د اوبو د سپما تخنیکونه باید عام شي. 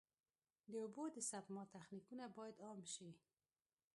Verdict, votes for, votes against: rejected, 0, 2